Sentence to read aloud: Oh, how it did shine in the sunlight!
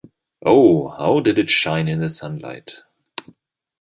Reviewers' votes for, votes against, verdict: 2, 0, accepted